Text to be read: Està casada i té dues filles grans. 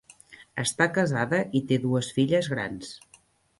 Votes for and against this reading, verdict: 3, 0, accepted